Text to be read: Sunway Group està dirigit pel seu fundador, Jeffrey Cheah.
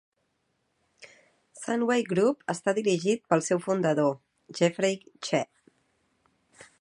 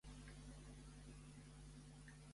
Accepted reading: first